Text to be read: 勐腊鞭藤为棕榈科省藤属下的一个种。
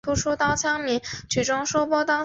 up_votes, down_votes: 3, 1